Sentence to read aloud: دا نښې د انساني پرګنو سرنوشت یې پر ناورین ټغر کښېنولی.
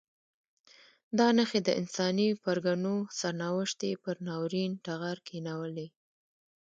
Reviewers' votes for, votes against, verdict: 0, 2, rejected